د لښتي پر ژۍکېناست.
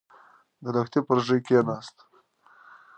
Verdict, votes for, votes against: accepted, 2, 0